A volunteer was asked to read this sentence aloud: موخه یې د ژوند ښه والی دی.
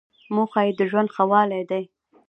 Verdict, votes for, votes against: accepted, 2, 0